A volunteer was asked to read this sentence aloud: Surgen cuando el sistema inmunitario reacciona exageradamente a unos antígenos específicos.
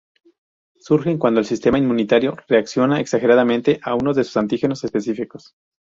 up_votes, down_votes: 0, 2